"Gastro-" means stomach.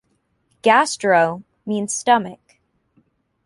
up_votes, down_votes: 2, 1